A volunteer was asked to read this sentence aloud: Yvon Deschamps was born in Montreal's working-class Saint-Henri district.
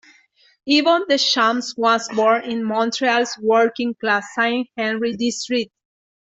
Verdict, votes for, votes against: accepted, 2, 0